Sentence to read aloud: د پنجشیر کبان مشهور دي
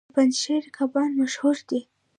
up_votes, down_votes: 0, 2